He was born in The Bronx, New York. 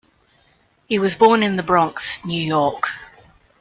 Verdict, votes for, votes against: accepted, 2, 0